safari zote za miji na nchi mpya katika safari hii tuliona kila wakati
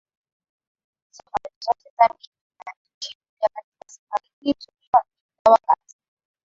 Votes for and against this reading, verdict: 0, 2, rejected